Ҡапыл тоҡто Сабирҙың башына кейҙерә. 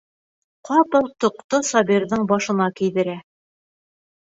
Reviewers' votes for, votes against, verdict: 2, 0, accepted